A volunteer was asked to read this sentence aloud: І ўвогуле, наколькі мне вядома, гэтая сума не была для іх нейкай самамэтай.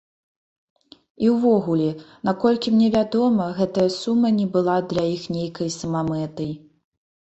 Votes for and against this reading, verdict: 4, 0, accepted